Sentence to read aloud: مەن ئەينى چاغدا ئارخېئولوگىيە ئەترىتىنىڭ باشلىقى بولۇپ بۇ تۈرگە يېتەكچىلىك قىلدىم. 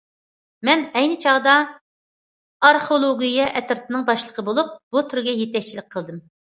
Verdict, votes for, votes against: accepted, 2, 0